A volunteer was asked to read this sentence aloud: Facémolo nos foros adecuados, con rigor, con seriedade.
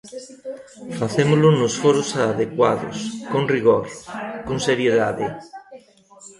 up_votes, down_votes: 1, 2